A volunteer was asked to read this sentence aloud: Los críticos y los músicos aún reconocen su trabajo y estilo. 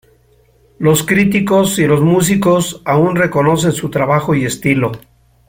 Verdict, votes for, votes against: accepted, 2, 0